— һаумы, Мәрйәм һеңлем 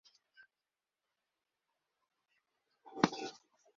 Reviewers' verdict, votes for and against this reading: rejected, 1, 2